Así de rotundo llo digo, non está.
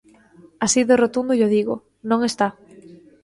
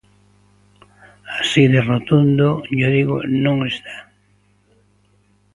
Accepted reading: first